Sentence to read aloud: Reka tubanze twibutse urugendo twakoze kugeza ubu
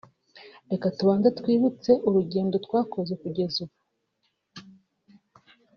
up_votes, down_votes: 1, 2